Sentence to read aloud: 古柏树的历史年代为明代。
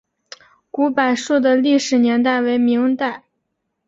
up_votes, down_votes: 2, 0